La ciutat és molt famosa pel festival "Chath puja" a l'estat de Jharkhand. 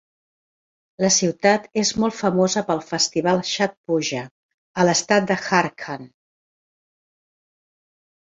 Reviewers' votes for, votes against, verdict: 1, 2, rejected